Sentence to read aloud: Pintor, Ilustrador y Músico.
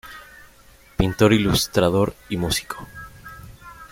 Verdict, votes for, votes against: accepted, 5, 0